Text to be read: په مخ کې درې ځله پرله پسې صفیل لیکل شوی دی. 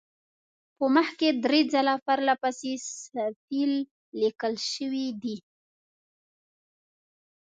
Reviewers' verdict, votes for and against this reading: rejected, 1, 2